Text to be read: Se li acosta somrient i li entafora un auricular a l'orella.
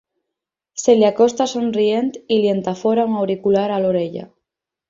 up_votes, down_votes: 6, 0